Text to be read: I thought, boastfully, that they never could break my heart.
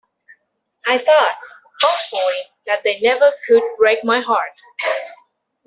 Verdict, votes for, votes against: rejected, 1, 2